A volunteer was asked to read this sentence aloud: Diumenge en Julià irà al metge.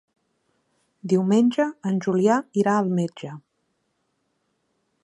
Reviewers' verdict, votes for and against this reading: accepted, 3, 0